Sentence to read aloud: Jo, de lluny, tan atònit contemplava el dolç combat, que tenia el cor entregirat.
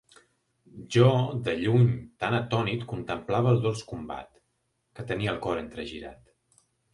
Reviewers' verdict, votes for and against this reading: accepted, 2, 0